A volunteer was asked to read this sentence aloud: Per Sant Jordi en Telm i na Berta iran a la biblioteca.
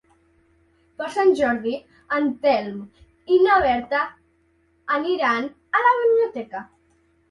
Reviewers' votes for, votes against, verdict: 0, 2, rejected